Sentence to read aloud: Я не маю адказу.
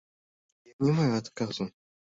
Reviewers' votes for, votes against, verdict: 0, 2, rejected